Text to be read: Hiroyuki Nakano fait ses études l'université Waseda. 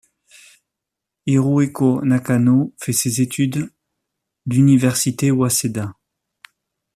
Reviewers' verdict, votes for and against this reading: rejected, 0, 2